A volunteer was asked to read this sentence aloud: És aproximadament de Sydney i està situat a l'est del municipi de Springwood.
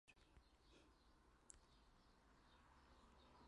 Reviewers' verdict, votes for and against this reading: rejected, 0, 2